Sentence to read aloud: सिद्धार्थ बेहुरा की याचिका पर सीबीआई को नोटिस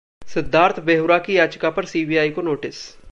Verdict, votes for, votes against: accepted, 2, 0